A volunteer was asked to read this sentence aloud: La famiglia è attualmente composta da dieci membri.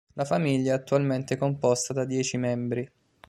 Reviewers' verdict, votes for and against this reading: accepted, 2, 0